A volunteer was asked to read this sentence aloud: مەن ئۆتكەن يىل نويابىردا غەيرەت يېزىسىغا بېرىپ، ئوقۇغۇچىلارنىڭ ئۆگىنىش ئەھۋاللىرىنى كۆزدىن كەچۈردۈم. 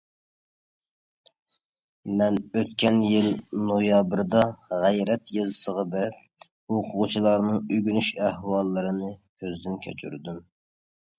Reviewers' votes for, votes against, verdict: 2, 0, accepted